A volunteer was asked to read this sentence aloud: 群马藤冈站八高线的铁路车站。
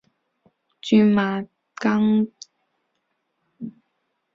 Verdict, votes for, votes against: rejected, 0, 3